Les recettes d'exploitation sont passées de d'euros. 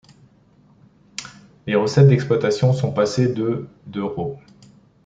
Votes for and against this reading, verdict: 2, 0, accepted